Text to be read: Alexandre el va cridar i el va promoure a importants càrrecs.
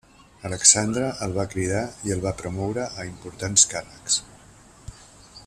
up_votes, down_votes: 2, 0